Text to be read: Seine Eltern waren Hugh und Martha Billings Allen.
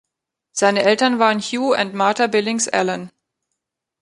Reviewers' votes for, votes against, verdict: 2, 0, accepted